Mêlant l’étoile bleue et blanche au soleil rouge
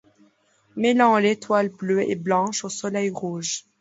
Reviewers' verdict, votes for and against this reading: accepted, 2, 0